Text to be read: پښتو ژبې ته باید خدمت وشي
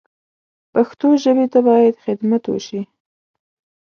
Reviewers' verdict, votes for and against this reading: accepted, 2, 0